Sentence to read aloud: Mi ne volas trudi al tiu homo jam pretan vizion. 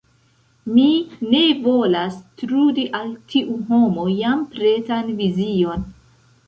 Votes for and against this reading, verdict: 2, 0, accepted